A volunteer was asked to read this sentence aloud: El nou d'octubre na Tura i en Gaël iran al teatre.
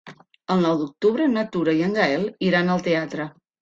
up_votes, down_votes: 3, 0